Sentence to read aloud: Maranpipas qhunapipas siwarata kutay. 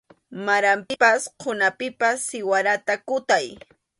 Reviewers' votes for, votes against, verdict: 2, 0, accepted